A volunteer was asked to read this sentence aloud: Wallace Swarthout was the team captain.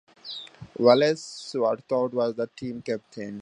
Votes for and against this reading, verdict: 0, 2, rejected